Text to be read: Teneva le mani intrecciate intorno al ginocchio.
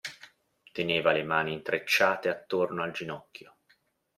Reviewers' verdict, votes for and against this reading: rejected, 1, 2